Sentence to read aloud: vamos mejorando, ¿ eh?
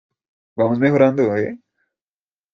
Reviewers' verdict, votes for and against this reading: rejected, 1, 2